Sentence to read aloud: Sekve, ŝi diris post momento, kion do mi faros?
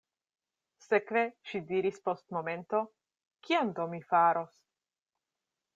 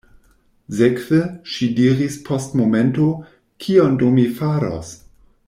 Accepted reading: first